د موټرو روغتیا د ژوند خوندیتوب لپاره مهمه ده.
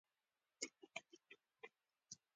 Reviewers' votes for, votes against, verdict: 2, 0, accepted